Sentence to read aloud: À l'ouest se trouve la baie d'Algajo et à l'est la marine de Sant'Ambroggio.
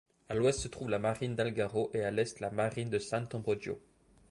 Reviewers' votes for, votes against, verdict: 1, 2, rejected